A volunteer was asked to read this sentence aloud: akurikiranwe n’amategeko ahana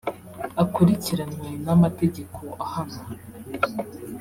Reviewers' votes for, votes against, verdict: 3, 0, accepted